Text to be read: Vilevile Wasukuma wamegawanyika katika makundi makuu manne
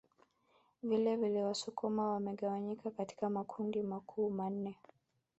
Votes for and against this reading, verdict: 2, 1, accepted